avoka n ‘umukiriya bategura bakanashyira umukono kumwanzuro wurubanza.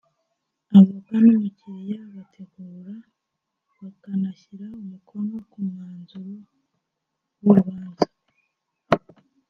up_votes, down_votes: 0, 2